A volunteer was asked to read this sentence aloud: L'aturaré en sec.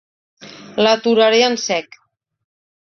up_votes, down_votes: 2, 0